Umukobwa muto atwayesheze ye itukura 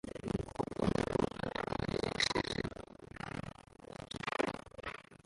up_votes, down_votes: 0, 2